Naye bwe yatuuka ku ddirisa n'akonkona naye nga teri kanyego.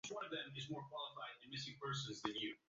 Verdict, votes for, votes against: rejected, 0, 2